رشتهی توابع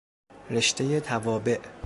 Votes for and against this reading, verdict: 2, 0, accepted